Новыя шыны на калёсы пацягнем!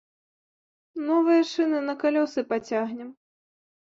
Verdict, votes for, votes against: accepted, 2, 0